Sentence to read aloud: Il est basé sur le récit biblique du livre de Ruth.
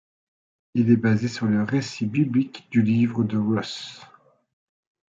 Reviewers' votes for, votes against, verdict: 1, 2, rejected